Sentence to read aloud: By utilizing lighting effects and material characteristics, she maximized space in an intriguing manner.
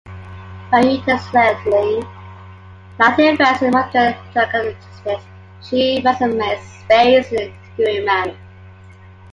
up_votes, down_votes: 0, 2